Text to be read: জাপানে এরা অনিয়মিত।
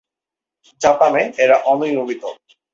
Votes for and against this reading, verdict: 24, 6, accepted